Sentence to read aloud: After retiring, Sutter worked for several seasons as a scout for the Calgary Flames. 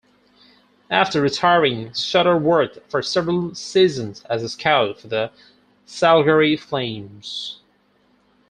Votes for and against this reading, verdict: 2, 4, rejected